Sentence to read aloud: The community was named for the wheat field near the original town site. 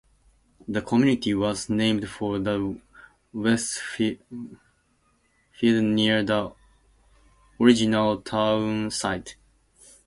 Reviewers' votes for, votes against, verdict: 0, 2, rejected